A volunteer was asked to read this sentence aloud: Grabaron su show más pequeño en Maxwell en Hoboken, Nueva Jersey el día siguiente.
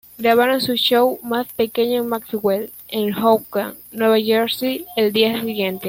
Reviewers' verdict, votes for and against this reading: accepted, 2, 1